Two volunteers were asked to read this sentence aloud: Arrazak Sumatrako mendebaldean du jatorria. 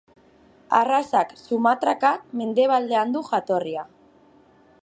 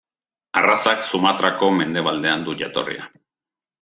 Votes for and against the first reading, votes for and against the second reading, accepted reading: 2, 2, 3, 0, second